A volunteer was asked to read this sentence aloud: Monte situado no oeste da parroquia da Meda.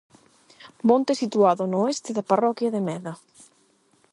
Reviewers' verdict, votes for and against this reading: rejected, 4, 4